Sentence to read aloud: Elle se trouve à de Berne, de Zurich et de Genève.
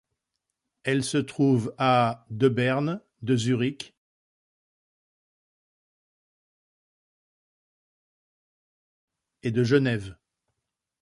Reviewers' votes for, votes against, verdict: 0, 2, rejected